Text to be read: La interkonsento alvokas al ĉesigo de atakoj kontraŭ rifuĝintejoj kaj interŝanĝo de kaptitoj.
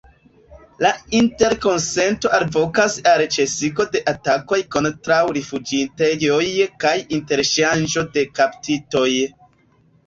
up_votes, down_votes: 1, 2